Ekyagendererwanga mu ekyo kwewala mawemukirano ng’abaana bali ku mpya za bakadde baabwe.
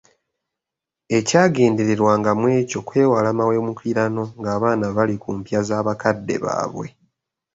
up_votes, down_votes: 2, 0